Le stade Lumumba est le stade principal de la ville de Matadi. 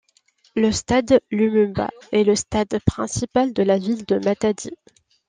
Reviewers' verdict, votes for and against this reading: accepted, 2, 1